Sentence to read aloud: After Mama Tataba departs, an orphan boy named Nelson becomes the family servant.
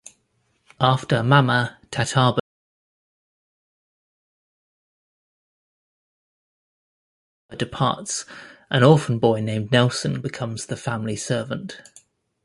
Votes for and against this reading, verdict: 1, 2, rejected